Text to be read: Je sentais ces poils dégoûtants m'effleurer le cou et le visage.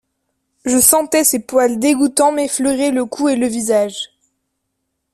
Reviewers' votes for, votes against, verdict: 2, 0, accepted